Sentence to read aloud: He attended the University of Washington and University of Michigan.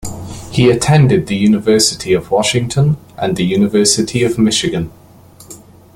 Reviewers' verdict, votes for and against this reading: rejected, 0, 2